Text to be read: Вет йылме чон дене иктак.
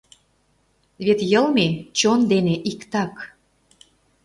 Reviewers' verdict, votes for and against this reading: accepted, 2, 0